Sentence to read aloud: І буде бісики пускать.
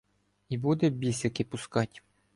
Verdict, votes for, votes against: accepted, 2, 0